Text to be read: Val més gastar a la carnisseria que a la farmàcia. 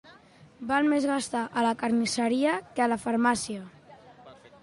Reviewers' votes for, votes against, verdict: 2, 0, accepted